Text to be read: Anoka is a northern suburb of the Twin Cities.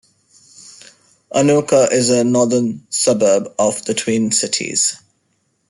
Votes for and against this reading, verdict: 2, 0, accepted